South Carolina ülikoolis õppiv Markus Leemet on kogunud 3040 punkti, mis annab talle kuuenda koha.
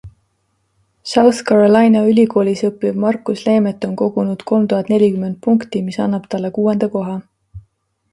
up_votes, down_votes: 0, 2